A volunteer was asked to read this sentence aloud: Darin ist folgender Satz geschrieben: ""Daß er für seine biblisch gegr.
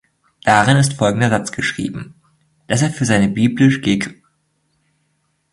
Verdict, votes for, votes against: rejected, 0, 2